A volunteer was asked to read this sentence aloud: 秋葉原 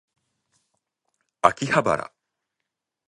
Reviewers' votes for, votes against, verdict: 2, 0, accepted